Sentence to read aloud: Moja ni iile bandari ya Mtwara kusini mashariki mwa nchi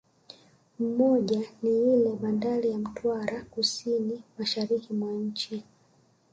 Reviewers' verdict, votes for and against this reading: rejected, 1, 2